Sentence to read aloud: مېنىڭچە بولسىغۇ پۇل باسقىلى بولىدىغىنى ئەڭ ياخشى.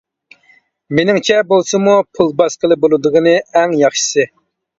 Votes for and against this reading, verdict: 1, 2, rejected